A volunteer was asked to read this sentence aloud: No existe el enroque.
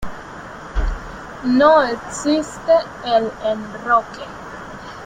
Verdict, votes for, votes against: accepted, 2, 1